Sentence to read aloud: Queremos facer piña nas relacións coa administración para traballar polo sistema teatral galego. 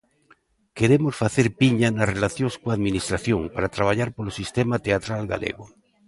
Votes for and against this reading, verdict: 2, 0, accepted